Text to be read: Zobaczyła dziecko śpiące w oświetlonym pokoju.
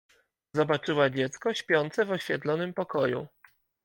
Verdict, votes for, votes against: accepted, 2, 0